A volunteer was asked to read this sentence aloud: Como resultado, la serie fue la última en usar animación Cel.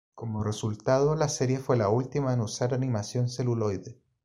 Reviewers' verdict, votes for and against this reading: rejected, 1, 2